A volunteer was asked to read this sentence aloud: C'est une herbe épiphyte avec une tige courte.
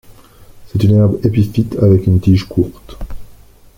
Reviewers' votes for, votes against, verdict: 2, 0, accepted